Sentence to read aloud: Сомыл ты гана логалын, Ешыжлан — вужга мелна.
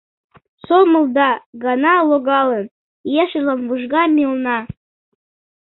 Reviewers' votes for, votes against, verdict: 0, 2, rejected